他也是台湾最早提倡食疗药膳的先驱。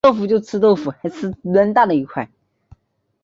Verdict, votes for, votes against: rejected, 0, 3